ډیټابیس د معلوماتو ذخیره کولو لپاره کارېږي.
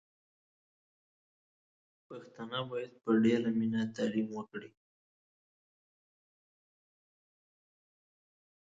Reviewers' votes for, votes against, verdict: 1, 2, rejected